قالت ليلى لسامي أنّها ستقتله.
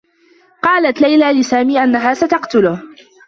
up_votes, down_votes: 2, 0